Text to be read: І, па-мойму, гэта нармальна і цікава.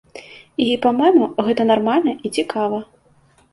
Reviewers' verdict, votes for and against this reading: accepted, 2, 0